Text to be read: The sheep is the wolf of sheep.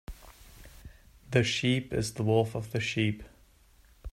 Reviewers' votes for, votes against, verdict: 2, 1, accepted